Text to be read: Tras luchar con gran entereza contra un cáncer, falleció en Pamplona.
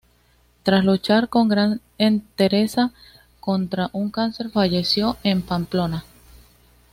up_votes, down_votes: 2, 0